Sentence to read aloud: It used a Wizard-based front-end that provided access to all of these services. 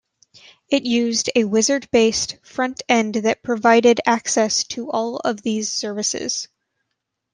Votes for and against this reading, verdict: 2, 0, accepted